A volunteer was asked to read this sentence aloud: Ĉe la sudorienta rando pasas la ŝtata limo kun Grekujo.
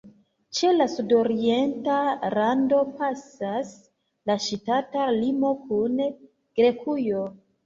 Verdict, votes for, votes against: accepted, 2, 1